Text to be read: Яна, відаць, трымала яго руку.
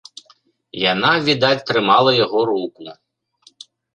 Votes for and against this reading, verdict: 1, 2, rejected